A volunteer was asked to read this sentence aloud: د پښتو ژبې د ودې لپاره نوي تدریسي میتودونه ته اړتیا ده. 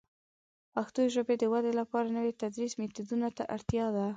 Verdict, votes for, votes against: rejected, 0, 3